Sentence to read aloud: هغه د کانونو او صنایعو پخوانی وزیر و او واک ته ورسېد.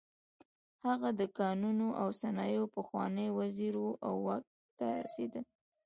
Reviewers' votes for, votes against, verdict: 1, 2, rejected